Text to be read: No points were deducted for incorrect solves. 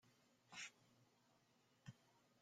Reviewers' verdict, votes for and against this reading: rejected, 0, 2